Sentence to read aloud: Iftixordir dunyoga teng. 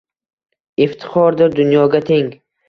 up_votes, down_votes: 2, 0